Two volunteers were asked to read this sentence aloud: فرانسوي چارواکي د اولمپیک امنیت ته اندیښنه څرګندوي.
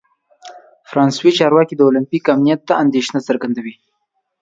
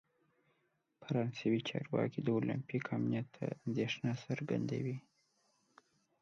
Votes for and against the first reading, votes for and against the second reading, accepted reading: 2, 0, 1, 2, first